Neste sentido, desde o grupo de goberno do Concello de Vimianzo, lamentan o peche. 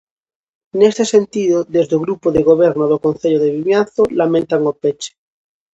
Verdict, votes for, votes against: accepted, 2, 0